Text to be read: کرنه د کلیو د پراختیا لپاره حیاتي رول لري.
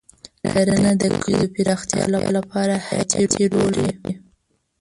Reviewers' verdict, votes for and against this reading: rejected, 0, 2